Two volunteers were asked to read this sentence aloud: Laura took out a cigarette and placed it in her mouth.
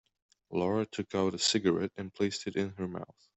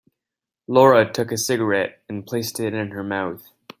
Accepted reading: first